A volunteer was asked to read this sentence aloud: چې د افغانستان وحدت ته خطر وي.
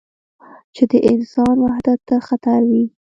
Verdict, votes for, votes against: rejected, 1, 2